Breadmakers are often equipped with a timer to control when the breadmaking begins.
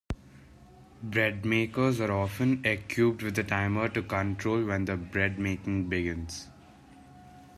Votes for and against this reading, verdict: 0, 2, rejected